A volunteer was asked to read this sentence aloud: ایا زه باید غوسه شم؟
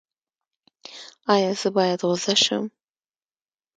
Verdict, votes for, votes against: accepted, 2, 1